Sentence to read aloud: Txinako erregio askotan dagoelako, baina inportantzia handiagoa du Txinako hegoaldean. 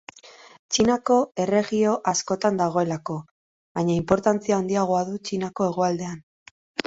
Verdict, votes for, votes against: accepted, 2, 0